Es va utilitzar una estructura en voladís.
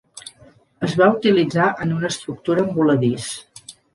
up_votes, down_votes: 0, 2